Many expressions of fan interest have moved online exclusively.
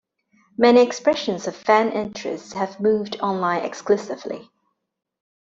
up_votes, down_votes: 2, 0